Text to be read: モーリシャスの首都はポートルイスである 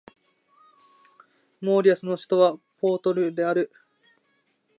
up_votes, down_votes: 0, 2